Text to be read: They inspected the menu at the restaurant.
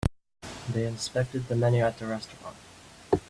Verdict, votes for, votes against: accepted, 2, 0